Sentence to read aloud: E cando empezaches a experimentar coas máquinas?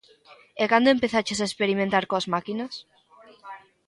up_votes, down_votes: 2, 0